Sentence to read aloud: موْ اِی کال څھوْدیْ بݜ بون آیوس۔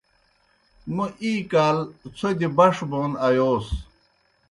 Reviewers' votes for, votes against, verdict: 2, 0, accepted